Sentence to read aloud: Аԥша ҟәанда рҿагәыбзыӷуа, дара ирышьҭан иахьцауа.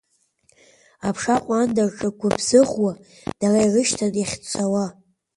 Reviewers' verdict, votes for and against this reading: accepted, 2, 1